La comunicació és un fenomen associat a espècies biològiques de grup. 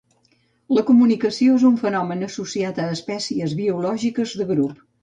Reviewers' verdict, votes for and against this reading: accepted, 2, 0